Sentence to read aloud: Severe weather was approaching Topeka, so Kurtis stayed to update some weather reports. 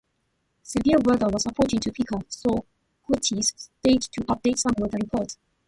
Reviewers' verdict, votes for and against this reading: accepted, 2, 0